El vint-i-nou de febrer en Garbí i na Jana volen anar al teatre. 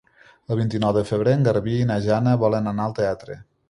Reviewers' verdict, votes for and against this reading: accepted, 3, 0